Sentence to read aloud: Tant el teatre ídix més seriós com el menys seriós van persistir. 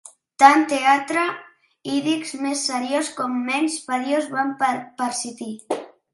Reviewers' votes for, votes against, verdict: 0, 2, rejected